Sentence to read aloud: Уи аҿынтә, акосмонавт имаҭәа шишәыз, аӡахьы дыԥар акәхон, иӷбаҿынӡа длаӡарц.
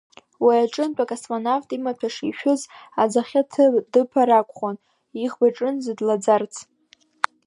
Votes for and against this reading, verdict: 2, 0, accepted